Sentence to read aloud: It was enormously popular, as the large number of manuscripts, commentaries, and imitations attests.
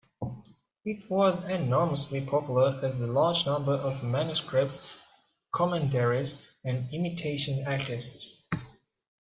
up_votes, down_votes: 0, 2